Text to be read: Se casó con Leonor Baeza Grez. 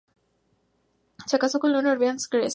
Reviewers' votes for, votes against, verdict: 0, 2, rejected